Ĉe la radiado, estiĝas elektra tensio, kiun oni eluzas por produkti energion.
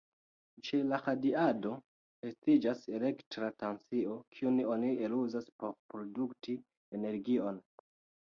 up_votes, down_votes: 2, 1